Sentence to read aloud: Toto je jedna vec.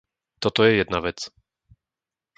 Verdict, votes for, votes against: accepted, 2, 0